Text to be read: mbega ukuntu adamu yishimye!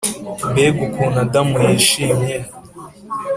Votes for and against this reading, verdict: 2, 0, accepted